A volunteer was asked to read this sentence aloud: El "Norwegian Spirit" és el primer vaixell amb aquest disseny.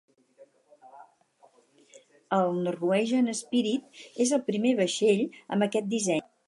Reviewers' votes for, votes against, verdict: 4, 4, rejected